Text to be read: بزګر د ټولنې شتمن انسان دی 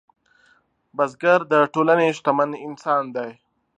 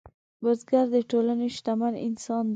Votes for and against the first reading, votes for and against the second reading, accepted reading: 2, 0, 1, 2, first